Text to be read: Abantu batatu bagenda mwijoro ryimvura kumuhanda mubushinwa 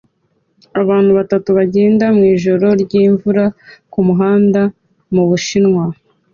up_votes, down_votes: 2, 0